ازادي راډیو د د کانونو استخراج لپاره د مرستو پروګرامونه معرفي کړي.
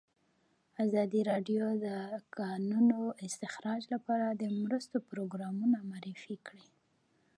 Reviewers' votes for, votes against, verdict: 2, 0, accepted